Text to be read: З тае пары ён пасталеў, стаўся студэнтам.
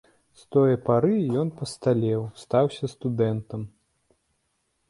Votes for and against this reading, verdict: 1, 2, rejected